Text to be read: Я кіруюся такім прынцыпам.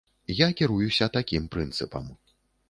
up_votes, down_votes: 2, 0